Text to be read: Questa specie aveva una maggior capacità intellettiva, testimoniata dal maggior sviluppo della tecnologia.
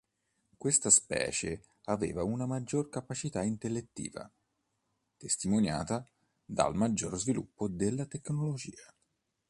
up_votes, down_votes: 2, 0